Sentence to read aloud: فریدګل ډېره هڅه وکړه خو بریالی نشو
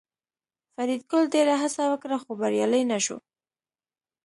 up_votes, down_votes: 2, 0